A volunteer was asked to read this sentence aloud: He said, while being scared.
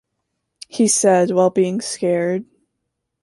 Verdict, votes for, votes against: accepted, 2, 1